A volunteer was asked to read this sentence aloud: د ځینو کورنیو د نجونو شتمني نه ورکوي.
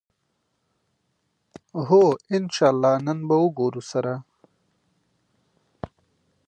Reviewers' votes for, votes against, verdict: 0, 2, rejected